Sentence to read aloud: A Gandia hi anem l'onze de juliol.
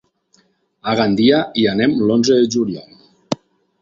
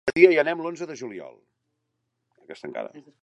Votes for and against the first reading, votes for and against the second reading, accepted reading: 4, 0, 0, 2, first